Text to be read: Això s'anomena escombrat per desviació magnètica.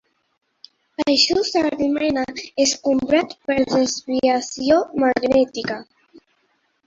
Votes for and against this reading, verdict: 3, 1, accepted